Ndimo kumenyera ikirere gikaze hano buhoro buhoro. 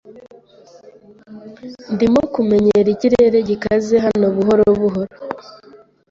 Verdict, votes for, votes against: accepted, 2, 0